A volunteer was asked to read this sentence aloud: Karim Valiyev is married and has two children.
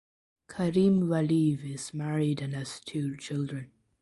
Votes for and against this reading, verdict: 2, 1, accepted